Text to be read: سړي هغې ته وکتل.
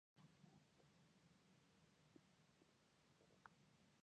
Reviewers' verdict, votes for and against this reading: rejected, 0, 3